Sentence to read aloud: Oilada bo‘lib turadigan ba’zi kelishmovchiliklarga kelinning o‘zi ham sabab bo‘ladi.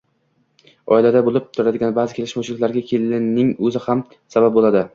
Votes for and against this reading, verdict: 2, 0, accepted